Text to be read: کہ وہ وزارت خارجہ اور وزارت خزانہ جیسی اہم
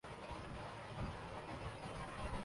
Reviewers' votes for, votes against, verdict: 0, 2, rejected